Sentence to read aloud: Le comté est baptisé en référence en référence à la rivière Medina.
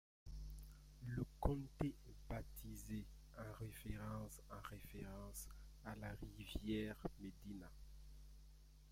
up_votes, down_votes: 1, 2